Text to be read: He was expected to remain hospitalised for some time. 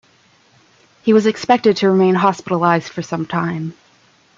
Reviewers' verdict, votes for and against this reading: accepted, 2, 0